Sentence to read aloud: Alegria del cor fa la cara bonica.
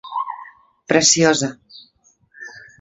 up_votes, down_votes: 0, 2